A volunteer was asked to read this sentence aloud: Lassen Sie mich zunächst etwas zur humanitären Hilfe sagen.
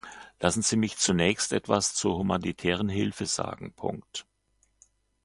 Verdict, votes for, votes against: accepted, 2, 1